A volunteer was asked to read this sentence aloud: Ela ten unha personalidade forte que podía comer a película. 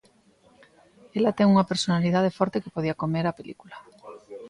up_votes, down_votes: 2, 0